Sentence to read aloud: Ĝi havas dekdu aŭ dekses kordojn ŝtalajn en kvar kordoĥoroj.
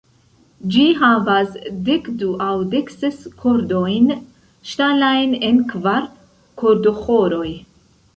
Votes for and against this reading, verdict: 0, 2, rejected